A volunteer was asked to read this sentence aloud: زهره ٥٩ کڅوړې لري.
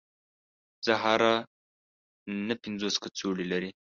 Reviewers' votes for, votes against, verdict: 0, 2, rejected